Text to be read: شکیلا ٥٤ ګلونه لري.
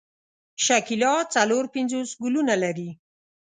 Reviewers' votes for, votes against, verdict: 0, 2, rejected